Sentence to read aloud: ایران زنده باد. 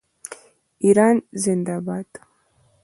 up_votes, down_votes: 2, 0